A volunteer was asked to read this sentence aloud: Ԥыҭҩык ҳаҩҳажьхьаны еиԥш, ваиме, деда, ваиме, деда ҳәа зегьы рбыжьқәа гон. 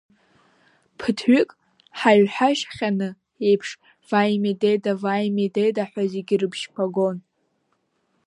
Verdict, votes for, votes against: rejected, 1, 2